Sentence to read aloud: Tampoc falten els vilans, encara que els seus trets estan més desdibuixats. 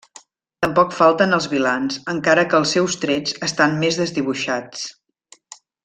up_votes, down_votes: 3, 1